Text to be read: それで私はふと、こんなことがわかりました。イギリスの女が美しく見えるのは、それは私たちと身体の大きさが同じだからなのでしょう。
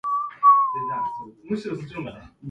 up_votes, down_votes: 0, 2